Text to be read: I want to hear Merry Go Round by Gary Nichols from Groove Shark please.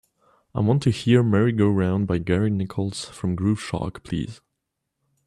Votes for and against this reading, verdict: 2, 0, accepted